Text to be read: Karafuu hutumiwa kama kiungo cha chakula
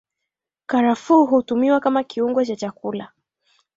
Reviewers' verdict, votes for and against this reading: rejected, 2, 3